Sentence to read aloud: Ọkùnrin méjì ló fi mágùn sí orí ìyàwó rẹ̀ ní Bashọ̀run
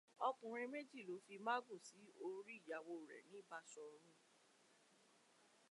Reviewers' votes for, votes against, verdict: 2, 0, accepted